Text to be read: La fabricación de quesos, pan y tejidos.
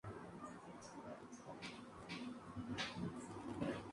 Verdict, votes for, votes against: accepted, 2, 0